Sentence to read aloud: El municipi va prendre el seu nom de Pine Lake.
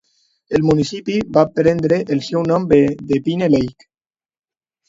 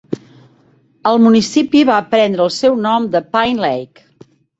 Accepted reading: second